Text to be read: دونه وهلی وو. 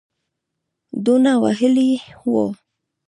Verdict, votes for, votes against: accepted, 2, 0